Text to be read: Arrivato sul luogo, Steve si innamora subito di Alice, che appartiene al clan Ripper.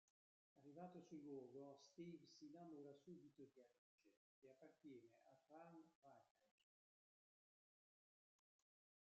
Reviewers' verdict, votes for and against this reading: rejected, 0, 2